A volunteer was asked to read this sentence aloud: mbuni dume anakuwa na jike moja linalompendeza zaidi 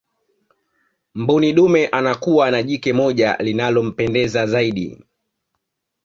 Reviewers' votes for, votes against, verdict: 2, 1, accepted